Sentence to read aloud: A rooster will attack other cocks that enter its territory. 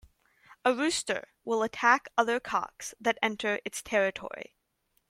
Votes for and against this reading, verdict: 2, 0, accepted